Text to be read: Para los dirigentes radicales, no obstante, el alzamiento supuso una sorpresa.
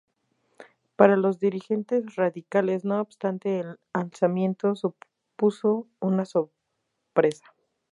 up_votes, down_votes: 2, 2